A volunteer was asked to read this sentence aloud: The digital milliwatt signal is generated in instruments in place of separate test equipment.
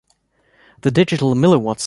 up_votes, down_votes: 0, 2